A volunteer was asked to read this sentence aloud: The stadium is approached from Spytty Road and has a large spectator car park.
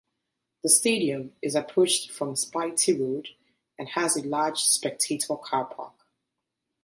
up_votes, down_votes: 0, 2